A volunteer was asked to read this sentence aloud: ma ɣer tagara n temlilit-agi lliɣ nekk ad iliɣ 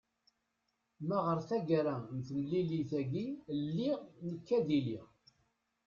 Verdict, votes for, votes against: accepted, 2, 1